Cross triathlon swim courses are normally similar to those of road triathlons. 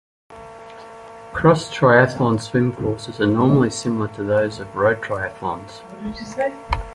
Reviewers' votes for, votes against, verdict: 1, 2, rejected